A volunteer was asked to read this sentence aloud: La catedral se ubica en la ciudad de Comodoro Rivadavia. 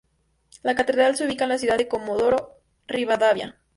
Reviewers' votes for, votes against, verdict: 4, 0, accepted